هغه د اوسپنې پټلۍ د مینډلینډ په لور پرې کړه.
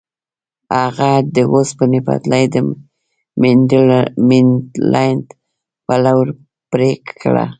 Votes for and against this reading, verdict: 0, 2, rejected